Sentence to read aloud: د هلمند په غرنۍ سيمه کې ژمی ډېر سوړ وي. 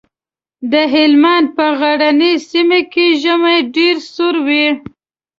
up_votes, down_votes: 1, 2